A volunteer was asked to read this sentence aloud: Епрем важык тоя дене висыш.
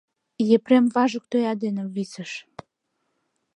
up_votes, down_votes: 2, 0